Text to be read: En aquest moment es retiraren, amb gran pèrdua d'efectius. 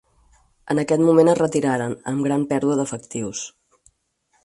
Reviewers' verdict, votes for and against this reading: accepted, 4, 0